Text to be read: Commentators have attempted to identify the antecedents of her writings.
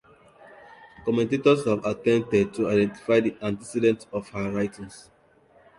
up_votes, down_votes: 2, 0